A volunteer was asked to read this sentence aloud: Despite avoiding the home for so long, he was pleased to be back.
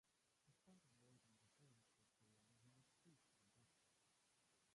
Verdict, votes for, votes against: rejected, 0, 2